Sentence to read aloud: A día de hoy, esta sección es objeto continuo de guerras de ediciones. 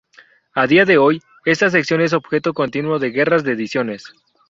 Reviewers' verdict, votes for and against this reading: accepted, 2, 0